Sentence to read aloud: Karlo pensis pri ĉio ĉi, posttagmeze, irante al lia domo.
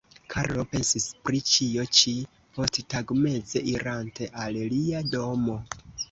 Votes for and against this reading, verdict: 0, 2, rejected